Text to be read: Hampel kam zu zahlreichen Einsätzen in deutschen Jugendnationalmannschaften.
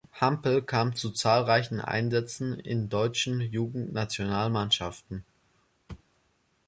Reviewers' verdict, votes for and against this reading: accepted, 3, 0